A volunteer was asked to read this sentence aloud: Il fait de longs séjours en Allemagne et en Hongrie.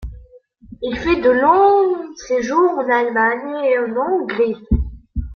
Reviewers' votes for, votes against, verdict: 0, 3, rejected